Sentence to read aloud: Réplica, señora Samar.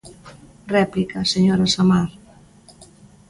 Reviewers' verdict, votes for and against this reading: accepted, 2, 0